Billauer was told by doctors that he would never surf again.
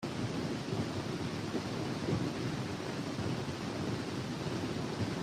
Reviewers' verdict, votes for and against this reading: rejected, 0, 2